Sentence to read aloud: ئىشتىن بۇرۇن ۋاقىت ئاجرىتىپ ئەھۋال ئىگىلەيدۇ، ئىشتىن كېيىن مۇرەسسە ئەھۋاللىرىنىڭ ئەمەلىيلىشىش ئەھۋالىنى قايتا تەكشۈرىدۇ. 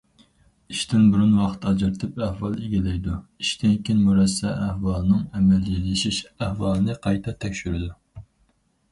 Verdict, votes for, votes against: rejected, 0, 4